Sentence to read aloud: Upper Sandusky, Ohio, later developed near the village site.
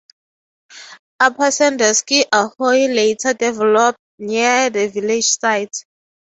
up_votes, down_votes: 0, 3